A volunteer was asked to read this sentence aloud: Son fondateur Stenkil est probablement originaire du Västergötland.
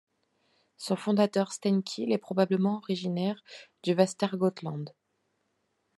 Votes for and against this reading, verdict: 2, 0, accepted